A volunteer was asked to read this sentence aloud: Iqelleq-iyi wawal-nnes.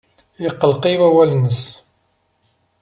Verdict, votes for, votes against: accepted, 2, 0